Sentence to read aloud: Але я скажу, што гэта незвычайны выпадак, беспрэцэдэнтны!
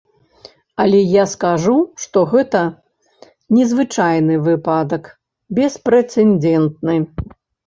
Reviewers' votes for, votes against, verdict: 1, 2, rejected